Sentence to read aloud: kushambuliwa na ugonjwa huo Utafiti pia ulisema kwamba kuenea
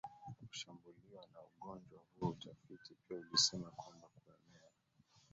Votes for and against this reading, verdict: 1, 2, rejected